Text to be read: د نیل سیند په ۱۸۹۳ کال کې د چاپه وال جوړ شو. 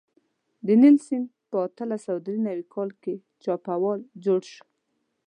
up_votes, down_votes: 0, 2